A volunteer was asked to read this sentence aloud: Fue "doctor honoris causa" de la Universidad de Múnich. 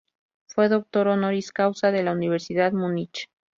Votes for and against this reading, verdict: 2, 0, accepted